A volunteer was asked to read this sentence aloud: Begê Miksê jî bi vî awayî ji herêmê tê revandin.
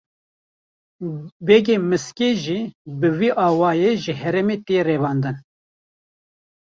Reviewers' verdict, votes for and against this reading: rejected, 1, 3